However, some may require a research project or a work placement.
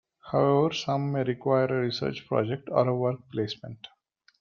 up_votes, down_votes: 1, 2